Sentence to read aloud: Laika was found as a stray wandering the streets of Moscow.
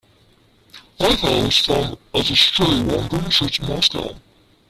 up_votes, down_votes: 0, 2